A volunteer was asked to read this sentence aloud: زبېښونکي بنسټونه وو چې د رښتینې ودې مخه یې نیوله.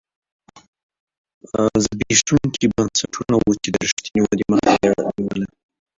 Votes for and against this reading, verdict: 2, 0, accepted